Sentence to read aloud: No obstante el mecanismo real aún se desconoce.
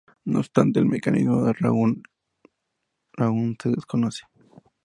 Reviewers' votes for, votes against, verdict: 0, 4, rejected